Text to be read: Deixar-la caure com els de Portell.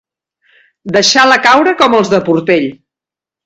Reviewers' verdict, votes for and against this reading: rejected, 1, 2